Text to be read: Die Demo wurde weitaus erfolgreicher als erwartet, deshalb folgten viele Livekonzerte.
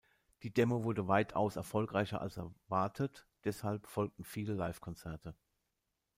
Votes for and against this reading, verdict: 2, 0, accepted